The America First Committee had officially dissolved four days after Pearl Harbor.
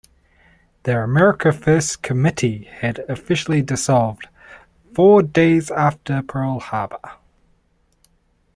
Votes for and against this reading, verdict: 2, 0, accepted